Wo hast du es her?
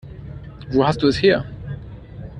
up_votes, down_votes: 2, 0